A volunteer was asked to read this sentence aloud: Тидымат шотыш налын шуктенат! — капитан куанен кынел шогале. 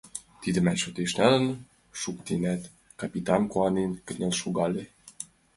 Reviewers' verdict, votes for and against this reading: accepted, 2, 0